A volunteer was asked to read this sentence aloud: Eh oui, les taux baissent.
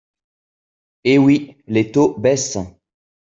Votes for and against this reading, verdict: 2, 0, accepted